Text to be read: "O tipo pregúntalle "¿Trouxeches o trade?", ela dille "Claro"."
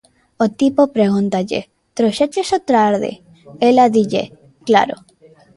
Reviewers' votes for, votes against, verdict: 1, 2, rejected